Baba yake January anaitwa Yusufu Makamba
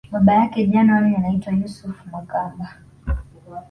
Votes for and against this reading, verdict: 2, 0, accepted